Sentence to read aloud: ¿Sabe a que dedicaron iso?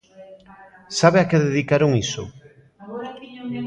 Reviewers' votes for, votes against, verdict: 0, 2, rejected